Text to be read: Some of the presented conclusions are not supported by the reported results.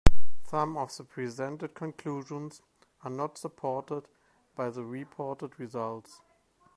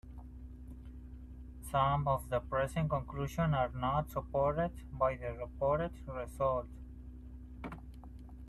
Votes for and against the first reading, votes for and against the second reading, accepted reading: 1, 2, 2, 0, second